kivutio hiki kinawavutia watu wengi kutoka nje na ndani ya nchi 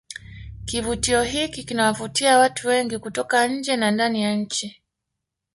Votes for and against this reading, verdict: 1, 2, rejected